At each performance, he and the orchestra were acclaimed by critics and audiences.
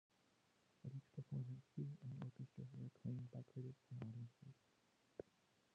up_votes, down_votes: 0, 2